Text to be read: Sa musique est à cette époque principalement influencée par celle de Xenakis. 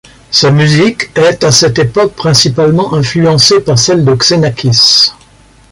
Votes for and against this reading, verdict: 2, 0, accepted